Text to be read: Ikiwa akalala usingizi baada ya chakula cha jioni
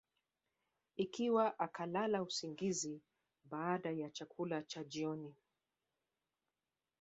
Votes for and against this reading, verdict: 1, 2, rejected